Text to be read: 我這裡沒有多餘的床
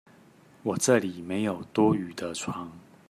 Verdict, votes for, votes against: accepted, 2, 0